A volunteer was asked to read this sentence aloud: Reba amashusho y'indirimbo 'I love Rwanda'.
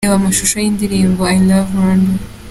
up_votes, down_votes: 2, 0